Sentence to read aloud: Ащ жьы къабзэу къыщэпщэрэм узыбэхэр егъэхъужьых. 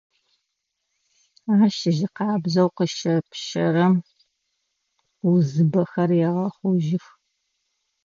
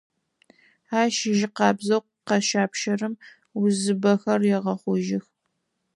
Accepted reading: first